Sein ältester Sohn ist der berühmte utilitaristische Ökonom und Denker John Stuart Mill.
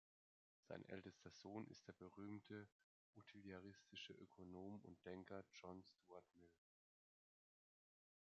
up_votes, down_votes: 2, 0